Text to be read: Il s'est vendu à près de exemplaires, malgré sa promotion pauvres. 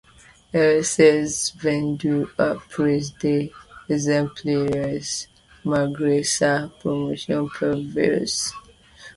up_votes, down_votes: 1, 2